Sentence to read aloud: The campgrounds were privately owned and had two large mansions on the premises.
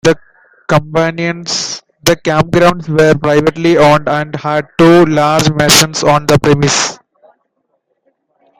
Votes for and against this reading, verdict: 0, 2, rejected